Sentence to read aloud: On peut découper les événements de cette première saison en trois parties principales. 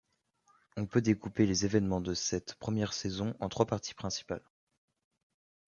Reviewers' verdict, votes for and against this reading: accepted, 2, 0